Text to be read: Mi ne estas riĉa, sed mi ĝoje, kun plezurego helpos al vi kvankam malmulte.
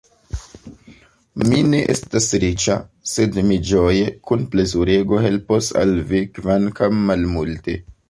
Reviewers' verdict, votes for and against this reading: rejected, 1, 2